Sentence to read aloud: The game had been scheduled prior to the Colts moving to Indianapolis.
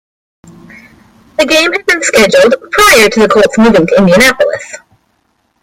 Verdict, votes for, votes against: rejected, 1, 2